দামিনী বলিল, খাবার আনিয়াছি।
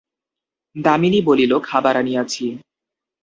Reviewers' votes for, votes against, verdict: 2, 0, accepted